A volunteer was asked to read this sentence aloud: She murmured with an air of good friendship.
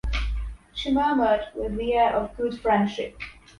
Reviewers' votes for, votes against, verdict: 0, 2, rejected